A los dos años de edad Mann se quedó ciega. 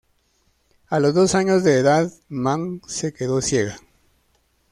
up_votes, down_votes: 2, 0